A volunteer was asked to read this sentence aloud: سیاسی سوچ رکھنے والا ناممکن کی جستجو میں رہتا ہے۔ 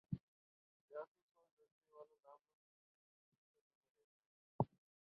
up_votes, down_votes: 0, 5